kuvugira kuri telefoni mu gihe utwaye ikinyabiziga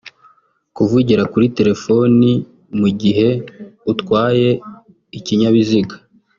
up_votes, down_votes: 1, 2